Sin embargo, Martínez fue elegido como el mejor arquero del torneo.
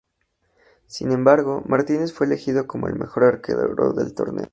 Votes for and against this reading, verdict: 2, 0, accepted